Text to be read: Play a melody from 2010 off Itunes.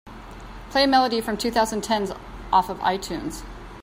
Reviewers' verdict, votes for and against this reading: rejected, 0, 2